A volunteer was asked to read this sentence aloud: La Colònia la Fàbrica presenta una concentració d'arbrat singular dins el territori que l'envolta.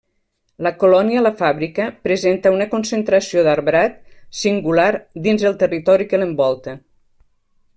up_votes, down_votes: 2, 0